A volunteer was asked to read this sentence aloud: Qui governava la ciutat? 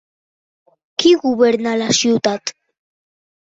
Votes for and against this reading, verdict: 0, 2, rejected